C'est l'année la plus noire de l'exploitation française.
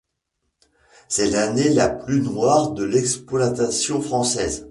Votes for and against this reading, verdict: 0, 2, rejected